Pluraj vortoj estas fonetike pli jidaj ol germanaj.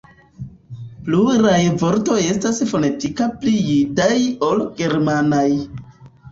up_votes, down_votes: 1, 2